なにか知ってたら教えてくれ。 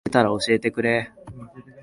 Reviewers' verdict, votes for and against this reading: rejected, 0, 2